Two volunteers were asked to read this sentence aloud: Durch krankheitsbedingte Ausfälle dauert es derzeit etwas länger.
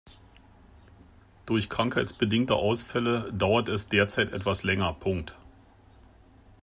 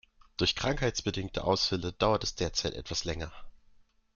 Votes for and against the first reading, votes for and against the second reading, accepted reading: 0, 2, 2, 0, second